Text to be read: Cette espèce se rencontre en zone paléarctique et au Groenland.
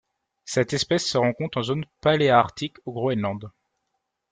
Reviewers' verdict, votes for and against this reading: rejected, 0, 2